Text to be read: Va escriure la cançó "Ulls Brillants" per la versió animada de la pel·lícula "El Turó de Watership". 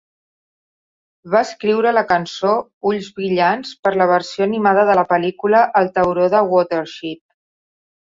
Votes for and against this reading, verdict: 0, 2, rejected